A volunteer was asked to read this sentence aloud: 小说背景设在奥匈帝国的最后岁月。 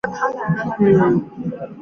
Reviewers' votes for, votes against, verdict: 0, 3, rejected